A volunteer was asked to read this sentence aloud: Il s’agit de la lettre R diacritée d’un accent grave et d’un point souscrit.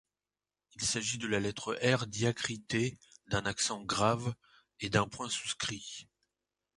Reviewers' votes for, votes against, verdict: 2, 0, accepted